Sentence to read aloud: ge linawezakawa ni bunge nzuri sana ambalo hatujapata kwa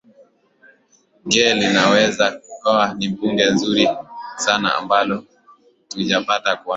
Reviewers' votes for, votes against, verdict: 2, 0, accepted